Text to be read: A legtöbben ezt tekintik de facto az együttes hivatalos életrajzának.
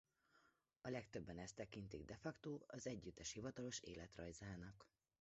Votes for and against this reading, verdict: 0, 2, rejected